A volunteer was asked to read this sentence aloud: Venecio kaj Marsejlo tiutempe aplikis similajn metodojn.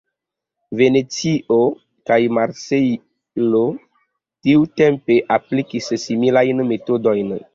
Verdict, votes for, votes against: accepted, 2, 0